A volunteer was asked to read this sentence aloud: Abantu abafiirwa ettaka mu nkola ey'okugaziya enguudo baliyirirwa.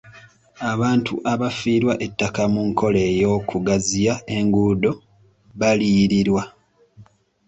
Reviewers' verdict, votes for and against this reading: accepted, 2, 0